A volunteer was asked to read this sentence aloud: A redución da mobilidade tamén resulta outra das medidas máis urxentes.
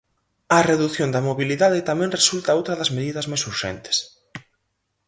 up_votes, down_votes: 4, 0